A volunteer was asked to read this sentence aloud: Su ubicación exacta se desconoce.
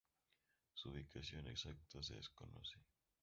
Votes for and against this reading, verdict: 0, 2, rejected